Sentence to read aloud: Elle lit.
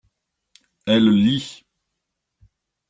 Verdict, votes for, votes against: accepted, 2, 0